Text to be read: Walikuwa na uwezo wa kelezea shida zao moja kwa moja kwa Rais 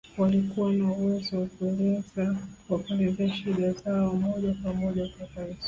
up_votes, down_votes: 2, 1